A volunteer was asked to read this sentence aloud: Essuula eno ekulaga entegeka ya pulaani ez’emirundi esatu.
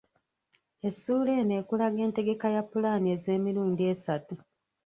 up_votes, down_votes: 0, 2